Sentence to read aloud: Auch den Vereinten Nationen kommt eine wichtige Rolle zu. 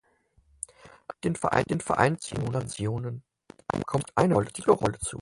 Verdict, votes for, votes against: rejected, 0, 4